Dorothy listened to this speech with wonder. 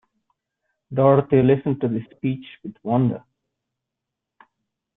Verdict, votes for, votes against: accepted, 2, 0